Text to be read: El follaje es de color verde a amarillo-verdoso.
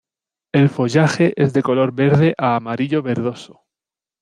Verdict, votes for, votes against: rejected, 1, 2